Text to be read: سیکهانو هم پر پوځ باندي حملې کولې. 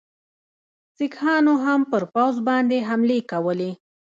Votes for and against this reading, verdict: 2, 1, accepted